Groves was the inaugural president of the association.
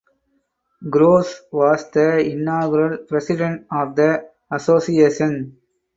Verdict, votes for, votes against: accepted, 4, 0